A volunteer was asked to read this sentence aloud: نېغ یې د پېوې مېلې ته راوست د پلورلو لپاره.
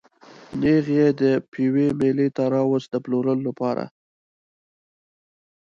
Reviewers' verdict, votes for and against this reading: accepted, 2, 0